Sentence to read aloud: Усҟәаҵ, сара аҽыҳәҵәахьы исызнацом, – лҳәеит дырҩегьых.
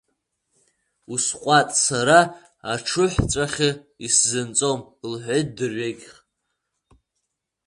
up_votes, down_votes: 0, 2